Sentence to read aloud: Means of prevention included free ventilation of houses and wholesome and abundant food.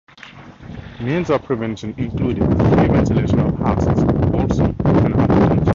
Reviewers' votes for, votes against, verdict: 0, 2, rejected